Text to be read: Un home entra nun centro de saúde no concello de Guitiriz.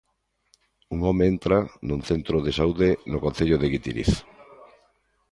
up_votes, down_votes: 2, 0